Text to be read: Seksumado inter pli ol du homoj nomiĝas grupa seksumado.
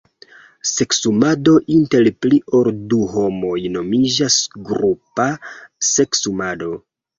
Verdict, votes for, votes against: rejected, 1, 2